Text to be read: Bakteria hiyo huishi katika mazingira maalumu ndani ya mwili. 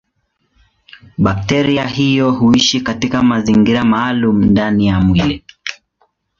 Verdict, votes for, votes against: accepted, 2, 0